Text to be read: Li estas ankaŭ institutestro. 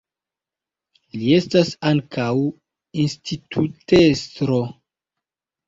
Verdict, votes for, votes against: accepted, 2, 1